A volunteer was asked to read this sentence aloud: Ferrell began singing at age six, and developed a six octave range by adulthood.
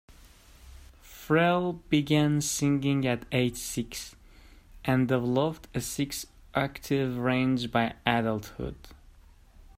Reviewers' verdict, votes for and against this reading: rejected, 0, 2